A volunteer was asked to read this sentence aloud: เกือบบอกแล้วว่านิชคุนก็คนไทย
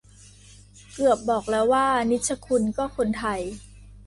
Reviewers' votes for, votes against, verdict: 2, 0, accepted